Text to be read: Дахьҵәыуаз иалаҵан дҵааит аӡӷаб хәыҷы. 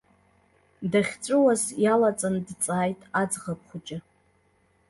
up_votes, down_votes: 2, 0